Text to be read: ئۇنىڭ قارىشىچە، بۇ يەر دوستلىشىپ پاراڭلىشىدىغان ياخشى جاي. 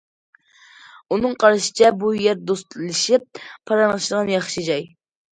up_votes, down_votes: 2, 0